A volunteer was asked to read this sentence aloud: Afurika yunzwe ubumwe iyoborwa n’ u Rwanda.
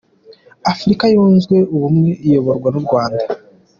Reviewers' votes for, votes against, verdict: 2, 0, accepted